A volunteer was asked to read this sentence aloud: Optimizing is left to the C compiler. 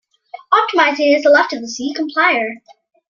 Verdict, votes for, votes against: accepted, 2, 0